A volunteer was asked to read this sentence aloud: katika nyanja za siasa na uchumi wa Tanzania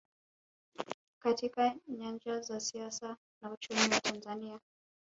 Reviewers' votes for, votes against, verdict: 1, 2, rejected